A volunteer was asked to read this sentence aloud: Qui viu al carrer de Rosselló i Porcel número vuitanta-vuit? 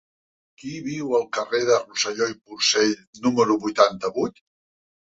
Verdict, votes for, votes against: rejected, 0, 2